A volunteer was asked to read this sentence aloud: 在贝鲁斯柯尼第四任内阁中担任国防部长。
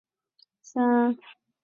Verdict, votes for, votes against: rejected, 0, 3